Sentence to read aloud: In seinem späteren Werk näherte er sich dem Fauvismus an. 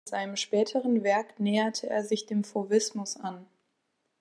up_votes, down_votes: 0, 2